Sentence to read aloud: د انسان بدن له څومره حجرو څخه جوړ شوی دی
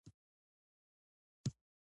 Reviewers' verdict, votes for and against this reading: accepted, 2, 1